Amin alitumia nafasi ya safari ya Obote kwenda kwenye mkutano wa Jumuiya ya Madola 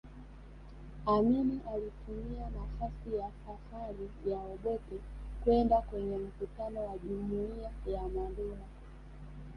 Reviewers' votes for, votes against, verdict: 3, 1, accepted